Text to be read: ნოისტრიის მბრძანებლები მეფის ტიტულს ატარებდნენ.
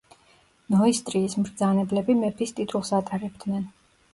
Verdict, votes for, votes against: accepted, 2, 0